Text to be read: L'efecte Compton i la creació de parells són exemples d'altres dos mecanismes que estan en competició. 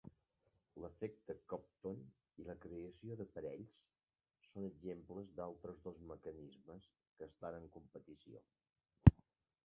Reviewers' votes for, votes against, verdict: 1, 2, rejected